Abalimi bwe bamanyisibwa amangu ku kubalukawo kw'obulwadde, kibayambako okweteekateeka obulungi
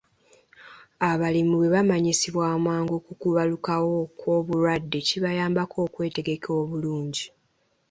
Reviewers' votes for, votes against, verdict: 1, 2, rejected